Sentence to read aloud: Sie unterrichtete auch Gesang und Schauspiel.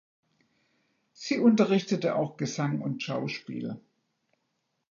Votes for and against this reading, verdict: 1, 2, rejected